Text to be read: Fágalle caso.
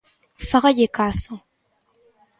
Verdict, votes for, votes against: accepted, 3, 0